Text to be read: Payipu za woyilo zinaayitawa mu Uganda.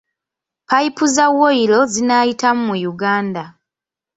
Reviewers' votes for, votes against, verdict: 1, 2, rejected